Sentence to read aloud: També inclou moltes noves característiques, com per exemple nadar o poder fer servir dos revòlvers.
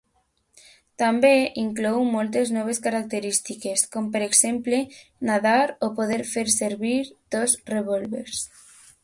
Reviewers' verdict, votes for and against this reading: accepted, 2, 0